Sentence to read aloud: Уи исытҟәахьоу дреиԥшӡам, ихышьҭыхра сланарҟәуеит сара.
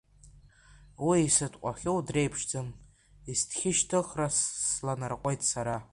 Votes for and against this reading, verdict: 1, 2, rejected